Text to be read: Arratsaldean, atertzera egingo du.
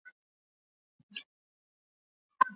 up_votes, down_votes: 2, 0